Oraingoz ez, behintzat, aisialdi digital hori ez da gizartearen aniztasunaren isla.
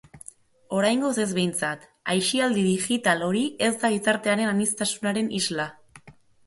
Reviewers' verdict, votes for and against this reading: accepted, 2, 0